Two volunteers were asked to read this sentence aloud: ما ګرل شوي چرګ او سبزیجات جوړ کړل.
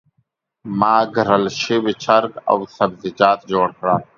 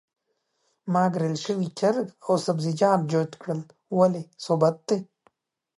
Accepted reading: first